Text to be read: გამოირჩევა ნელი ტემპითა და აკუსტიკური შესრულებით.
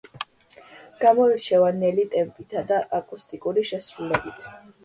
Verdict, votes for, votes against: accepted, 2, 0